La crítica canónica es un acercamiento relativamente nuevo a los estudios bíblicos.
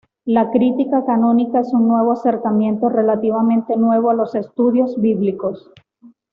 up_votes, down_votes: 2, 0